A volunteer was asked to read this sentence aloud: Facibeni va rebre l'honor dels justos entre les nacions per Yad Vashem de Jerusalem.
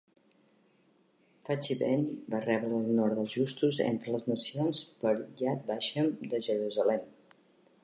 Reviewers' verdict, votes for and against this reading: accepted, 2, 0